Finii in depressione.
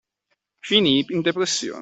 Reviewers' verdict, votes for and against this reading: accepted, 2, 0